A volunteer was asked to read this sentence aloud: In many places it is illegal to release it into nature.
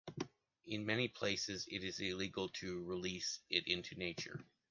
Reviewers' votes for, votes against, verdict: 2, 0, accepted